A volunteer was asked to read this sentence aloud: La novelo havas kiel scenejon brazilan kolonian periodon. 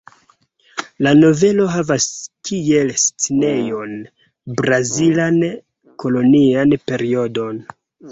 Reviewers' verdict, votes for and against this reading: rejected, 0, 2